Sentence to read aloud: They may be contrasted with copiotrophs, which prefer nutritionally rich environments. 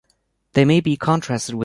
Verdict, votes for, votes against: rejected, 0, 2